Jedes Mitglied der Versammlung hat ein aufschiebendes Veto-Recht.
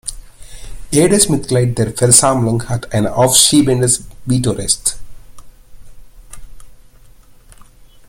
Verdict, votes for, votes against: rejected, 0, 2